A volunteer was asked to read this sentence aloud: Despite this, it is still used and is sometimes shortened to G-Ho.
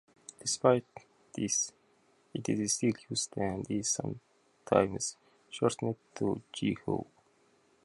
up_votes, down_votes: 0, 2